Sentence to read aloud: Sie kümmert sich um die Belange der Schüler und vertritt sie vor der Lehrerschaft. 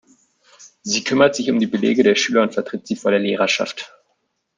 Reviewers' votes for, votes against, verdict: 0, 2, rejected